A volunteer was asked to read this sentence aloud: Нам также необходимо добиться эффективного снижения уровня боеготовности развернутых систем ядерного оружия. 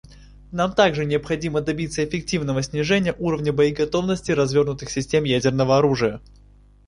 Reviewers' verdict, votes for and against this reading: accepted, 2, 0